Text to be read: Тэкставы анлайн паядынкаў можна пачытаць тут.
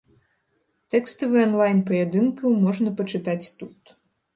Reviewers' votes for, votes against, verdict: 2, 1, accepted